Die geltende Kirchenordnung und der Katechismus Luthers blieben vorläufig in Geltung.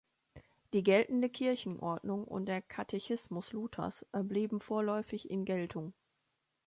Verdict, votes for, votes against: accepted, 2, 1